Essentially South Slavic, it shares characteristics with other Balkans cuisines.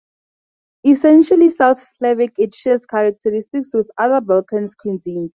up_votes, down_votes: 4, 0